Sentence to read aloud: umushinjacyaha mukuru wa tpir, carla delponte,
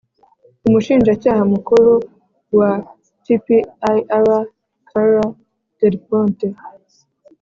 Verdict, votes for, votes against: accepted, 3, 0